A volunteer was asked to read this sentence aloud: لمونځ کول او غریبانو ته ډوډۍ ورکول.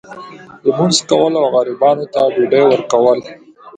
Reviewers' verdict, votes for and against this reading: accepted, 2, 0